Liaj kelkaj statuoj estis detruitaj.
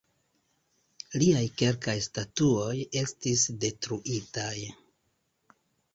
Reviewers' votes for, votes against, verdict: 1, 2, rejected